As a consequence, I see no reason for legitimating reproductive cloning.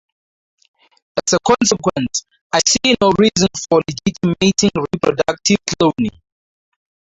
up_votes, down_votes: 4, 0